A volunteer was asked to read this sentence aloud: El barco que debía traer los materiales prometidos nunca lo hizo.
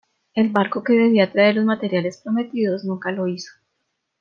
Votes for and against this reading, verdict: 2, 0, accepted